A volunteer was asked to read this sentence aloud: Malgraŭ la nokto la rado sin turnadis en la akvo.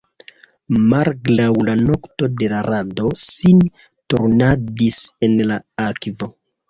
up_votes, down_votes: 1, 2